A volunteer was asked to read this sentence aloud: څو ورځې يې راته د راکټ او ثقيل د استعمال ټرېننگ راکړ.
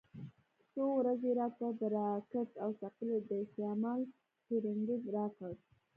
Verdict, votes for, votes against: rejected, 1, 2